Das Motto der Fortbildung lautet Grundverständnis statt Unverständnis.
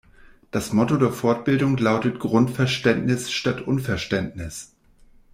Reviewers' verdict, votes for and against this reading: accepted, 2, 0